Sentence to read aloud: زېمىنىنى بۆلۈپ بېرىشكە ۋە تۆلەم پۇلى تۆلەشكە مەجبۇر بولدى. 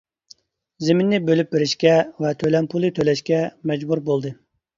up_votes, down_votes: 1, 2